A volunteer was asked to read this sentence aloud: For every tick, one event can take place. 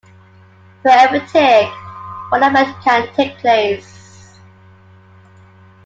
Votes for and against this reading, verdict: 0, 2, rejected